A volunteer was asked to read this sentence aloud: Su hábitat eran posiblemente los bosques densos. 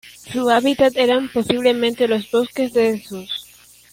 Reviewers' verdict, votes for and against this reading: rejected, 1, 2